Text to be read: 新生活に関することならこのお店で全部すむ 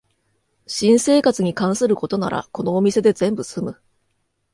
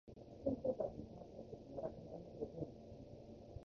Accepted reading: first